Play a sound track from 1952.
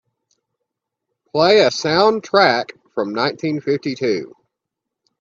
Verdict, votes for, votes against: rejected, 0, 2